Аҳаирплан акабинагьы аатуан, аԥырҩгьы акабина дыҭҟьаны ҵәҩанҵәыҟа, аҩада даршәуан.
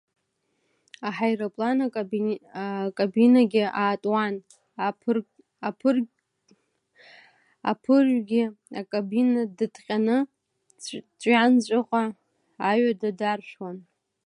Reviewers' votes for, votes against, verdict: 0, 2, rejected